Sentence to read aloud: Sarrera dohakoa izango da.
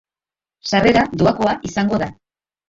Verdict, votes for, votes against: accepted, 3, 1